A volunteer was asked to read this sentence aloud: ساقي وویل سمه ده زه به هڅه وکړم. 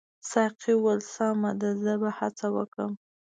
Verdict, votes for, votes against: accepted, 2, 0